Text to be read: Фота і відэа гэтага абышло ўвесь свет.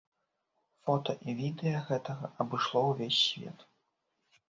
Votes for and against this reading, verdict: 2, 0, accepted